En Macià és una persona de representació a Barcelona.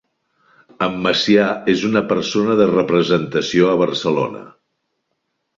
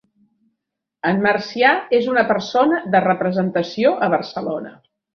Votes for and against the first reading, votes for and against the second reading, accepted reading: 4, 0, 0, 2, first